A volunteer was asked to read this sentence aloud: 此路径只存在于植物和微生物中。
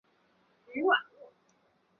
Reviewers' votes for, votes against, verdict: 1, 2, rejected